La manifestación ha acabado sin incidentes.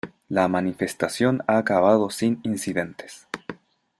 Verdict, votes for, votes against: accepted, 2, 0